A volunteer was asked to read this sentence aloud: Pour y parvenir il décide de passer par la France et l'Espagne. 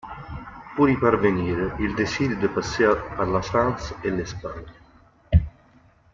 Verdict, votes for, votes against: accepted, 2, 0